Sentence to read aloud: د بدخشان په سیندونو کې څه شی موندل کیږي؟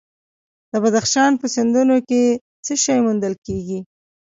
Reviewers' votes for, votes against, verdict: 2, 1, accepted